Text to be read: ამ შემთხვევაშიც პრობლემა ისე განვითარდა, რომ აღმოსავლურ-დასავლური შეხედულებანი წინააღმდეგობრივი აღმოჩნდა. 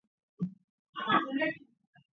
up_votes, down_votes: 0, 4